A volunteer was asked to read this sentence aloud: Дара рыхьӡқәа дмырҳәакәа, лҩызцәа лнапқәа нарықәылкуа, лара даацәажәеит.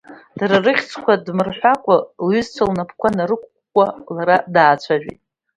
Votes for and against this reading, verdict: 1, 2, rejected